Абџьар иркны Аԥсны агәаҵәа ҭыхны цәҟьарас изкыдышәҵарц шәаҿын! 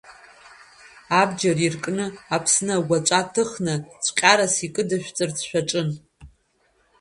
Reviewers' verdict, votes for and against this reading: accepted, 2, 1